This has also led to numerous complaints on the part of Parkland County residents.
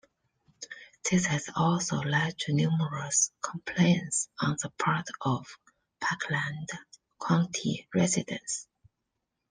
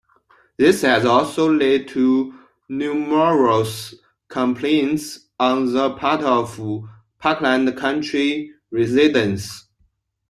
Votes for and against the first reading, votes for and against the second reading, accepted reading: 2, 0, 0, 2, first